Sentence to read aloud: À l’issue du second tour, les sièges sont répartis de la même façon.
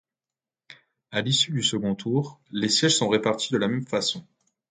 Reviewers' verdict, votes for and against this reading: accepted, 2, 0